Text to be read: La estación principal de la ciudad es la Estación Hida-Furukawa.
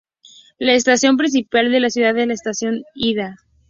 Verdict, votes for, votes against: rejected, 2, 2